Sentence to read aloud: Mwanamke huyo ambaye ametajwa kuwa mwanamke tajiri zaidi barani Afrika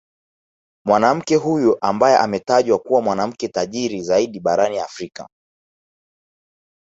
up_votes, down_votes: 1, 2